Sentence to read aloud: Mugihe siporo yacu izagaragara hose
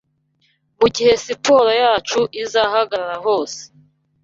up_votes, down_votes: 2, 3